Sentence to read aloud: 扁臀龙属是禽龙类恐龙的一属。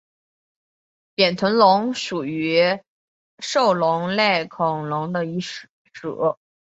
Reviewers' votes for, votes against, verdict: 3, 0, accepted